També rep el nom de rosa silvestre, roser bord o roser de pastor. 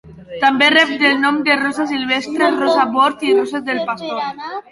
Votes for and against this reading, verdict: 1, 2, rejected